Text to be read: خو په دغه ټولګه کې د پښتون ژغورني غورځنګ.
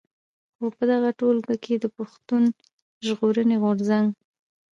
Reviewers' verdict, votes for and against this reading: rejected, 0, 2